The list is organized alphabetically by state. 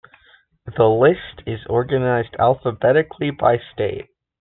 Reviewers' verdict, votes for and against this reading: accepted, 2, 1